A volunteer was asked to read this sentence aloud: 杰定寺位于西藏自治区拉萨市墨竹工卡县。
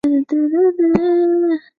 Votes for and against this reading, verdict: 2, 3, rejected